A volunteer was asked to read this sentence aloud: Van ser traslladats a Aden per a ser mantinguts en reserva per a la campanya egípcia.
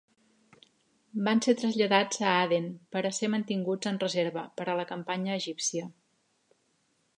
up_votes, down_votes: 3, 0